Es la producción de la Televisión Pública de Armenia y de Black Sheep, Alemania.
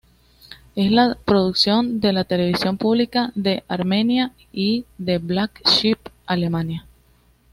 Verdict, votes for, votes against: rejected, 0, 2